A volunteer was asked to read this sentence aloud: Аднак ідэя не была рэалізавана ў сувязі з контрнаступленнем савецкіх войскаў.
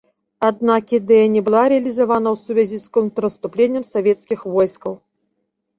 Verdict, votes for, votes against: rejected, 1, 2